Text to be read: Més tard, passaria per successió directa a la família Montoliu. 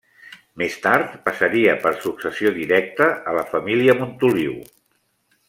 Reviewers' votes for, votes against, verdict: 3, 0, accepted